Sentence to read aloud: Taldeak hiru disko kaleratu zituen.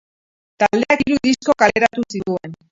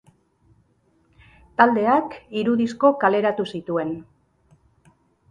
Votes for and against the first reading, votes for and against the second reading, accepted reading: 0, 2, 2, 0, second